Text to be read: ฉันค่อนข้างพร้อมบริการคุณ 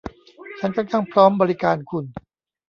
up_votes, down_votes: 0, 2